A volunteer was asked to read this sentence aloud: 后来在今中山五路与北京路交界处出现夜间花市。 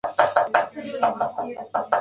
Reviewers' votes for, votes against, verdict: 1, 3, rejected